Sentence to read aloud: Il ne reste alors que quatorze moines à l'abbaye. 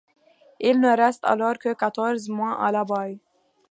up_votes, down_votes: 1, 2